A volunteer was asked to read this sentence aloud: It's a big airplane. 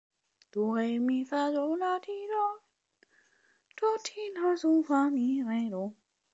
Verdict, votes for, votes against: rejected, 1, 2